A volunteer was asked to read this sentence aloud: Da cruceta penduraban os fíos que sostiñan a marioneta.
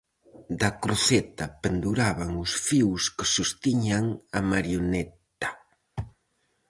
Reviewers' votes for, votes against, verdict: 2, 2, rejected